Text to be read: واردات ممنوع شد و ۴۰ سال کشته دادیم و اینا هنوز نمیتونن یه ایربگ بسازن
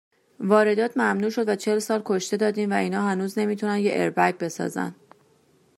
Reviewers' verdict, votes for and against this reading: rejected, 0, 2